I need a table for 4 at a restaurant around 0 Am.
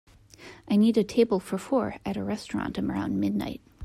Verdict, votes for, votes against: rejected, 0, 2